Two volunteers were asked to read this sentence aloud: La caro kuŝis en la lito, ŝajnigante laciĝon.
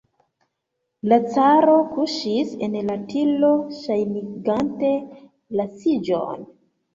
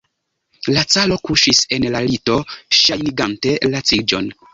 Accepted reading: second